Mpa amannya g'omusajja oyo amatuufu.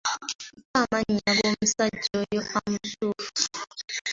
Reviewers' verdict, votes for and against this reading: accepted, 2, 1